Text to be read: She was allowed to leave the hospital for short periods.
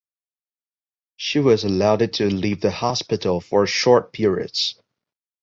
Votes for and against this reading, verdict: 0, 2, rejected